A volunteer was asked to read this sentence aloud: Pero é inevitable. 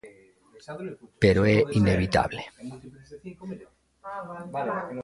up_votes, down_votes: 0, 2